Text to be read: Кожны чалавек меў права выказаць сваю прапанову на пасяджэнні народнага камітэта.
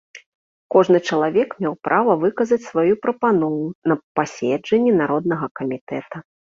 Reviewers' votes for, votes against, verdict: 1, 2, rejected